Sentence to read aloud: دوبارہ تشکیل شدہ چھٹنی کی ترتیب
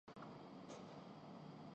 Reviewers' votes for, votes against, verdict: 0, 3, rejected